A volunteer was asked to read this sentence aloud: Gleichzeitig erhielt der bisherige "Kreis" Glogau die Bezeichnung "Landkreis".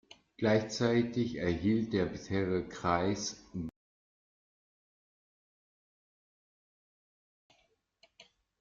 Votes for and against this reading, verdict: 0, 2, rejected